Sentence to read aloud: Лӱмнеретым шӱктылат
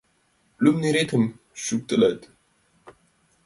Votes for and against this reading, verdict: 2, 1, accepted